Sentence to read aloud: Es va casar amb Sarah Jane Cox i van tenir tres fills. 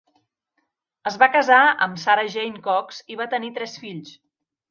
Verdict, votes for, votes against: rejected, 1, 2